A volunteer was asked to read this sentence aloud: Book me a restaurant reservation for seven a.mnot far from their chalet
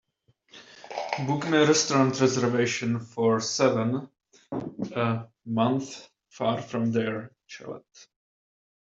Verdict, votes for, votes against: rejected, 0, 2